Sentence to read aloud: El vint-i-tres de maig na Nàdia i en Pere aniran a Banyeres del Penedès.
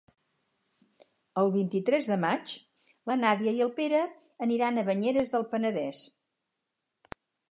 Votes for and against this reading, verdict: 2, 4, rejected